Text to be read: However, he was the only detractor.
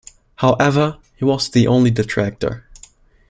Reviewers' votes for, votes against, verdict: 2, 0, accepted